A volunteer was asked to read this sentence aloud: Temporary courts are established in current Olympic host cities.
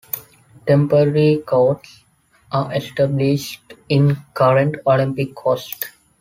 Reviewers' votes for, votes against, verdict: 0, 2, rejected